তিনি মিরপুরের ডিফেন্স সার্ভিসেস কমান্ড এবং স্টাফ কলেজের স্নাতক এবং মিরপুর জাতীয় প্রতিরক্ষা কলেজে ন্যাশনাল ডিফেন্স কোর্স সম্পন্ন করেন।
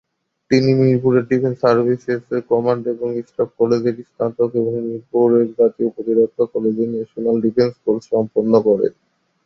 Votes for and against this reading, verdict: 2, 0, accepted